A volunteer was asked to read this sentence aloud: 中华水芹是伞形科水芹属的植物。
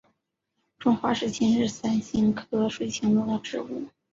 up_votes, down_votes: 2, 0